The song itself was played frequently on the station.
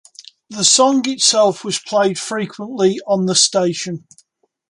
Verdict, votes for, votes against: accepted, 2, 0